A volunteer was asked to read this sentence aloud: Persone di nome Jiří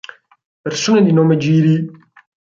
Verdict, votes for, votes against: rejected, 2, 4